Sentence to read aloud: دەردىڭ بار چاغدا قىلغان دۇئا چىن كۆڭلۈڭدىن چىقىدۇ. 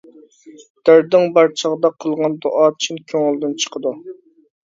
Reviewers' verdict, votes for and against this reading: rejected, 0, 2